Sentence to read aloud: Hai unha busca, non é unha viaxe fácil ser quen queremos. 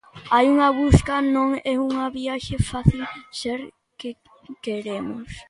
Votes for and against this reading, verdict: 0, 2, rejected